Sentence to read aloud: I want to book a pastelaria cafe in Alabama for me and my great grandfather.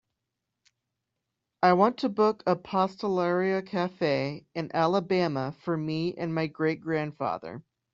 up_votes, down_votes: 2, 0